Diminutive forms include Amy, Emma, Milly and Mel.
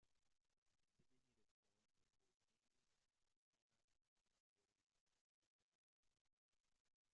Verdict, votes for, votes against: rejected, 1, 2